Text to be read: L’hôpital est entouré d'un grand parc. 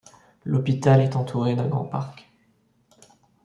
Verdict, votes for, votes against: accepted, 2, 0